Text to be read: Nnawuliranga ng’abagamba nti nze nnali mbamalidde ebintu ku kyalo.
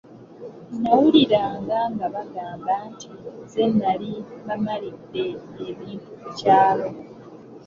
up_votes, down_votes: 1, 2